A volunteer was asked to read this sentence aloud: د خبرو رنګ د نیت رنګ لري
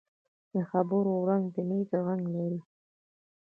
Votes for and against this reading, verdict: 2, 0, accepted